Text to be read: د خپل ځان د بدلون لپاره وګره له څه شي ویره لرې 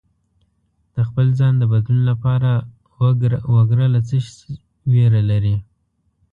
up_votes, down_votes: 1, 2